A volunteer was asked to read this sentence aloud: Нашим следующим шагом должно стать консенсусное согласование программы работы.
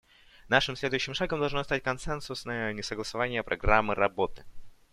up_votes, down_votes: 0, 2